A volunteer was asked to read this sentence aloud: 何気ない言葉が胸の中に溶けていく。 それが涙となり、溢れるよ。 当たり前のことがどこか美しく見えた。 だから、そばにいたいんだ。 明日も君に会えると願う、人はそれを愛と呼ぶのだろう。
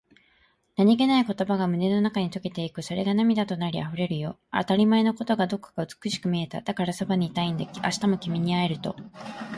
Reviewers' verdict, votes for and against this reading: rejected, 0, 4